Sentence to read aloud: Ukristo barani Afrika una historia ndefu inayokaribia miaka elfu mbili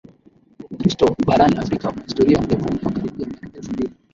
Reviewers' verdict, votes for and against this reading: rejected, 2, 3